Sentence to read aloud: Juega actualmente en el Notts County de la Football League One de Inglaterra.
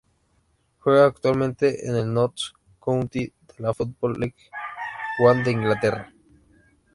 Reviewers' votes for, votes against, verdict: 0, 2, rejected